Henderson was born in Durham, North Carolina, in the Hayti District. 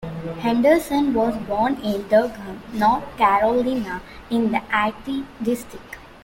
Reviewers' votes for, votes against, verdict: 0, 2, rejected